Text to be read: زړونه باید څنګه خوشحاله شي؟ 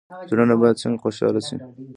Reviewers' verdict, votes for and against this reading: rejected, 0, 2